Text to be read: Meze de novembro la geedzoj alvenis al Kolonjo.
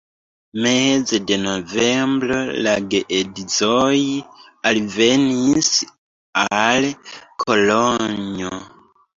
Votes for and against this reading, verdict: 0, 2, rejected